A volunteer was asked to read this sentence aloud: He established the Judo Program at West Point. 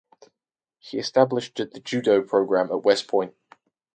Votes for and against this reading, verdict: 0, 2, rejected